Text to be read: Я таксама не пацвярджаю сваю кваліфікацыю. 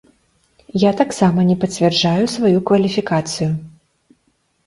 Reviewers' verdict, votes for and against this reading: accepted, 2, 0